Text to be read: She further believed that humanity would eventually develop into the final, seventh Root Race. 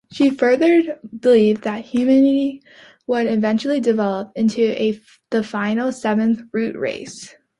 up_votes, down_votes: 2, 0